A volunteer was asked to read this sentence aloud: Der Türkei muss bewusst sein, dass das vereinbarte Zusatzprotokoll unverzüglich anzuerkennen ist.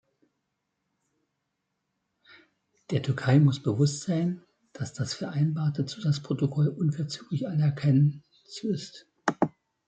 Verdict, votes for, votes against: rejected, 0, 2